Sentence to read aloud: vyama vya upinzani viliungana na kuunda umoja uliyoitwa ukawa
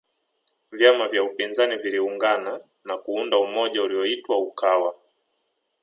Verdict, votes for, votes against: accepted, 2, 0